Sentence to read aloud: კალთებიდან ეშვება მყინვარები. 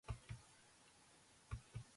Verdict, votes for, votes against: rejected, 0, 5